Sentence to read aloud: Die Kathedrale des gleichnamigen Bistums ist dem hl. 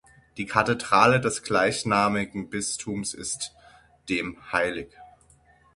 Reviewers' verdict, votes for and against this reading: accepted, 6, 0